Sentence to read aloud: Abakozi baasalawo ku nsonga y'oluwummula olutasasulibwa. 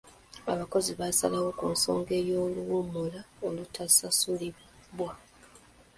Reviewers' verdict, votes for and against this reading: accepted, 2, 0